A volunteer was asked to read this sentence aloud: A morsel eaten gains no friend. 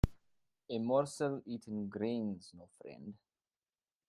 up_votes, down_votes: 0, 2